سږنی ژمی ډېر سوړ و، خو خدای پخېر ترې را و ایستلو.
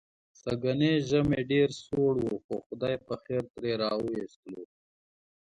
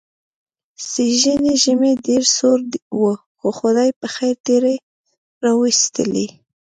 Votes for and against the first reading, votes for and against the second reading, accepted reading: 2, 0, 1, 2, first